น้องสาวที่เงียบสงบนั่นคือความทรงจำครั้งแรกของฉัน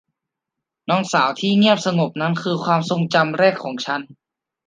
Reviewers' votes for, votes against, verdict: 0, 2, rejected